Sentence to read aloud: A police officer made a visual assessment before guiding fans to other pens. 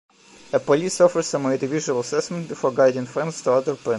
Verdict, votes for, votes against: rejected, 0, 2